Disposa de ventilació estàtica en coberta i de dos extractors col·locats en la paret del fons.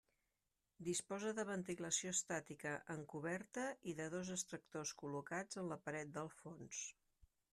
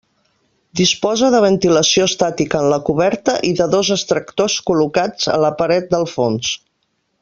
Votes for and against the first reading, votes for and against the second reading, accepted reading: 2, 0, 0, 2, first